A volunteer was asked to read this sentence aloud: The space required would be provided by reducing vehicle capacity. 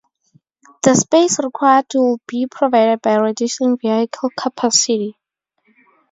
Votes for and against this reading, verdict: 0, 6, rejected